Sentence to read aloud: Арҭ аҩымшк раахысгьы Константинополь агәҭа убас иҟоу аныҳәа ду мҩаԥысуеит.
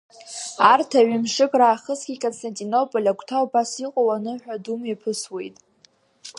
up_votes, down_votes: 1, 2